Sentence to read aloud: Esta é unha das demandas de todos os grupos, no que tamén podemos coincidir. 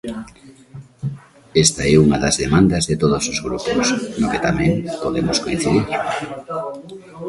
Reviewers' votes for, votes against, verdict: 0, 2, rejected